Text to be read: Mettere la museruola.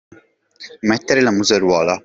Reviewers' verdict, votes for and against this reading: accepted, 2, 0